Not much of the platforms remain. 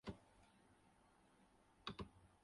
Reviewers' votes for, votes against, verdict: 0, 6, rejected